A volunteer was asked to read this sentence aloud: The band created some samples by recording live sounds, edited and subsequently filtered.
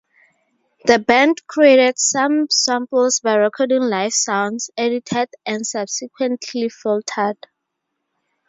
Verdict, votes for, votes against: rejected, 0, 2